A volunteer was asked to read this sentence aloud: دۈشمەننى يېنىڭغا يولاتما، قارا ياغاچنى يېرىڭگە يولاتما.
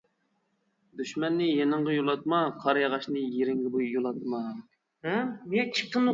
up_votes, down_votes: 0, 2